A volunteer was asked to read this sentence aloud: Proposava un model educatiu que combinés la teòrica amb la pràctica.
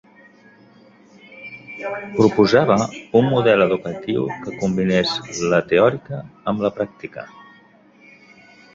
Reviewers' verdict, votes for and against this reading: rejected, 1, 2